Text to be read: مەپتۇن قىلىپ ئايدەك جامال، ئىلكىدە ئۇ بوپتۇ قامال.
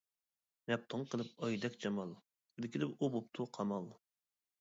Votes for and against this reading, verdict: 0, 2, rejected